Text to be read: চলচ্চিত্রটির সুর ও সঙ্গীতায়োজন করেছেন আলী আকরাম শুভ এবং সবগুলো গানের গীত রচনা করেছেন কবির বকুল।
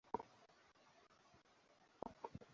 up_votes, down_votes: 0, 2